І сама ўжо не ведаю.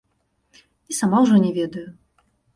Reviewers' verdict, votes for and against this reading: accepted, 2, 0